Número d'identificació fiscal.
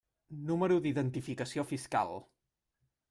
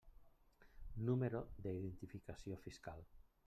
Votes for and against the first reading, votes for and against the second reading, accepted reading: 2, 0, 0, 2, first